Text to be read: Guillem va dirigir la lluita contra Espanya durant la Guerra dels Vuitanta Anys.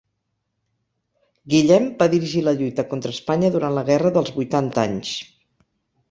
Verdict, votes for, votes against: accepted, 4, 0